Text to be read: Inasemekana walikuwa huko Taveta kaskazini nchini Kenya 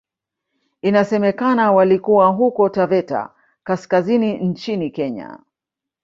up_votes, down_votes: 0, 2